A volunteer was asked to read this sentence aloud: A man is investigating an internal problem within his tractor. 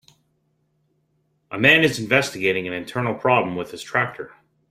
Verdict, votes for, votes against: rejected, 1, 2